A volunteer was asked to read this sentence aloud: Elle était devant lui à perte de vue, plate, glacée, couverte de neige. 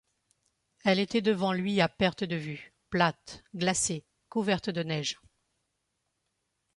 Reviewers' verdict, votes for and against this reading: accepted, 2, 0